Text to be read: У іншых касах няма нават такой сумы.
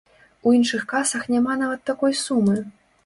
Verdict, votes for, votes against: accepted, 2, 0